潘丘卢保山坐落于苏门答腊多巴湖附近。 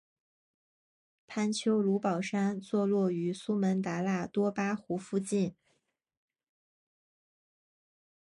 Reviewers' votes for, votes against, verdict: 2, 0, accepted